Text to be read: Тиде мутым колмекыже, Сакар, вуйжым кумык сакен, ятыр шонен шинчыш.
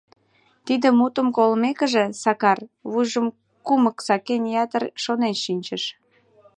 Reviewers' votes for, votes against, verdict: 2, 0, accepted